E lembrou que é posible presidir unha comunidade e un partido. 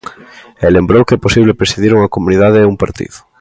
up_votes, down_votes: 2, 0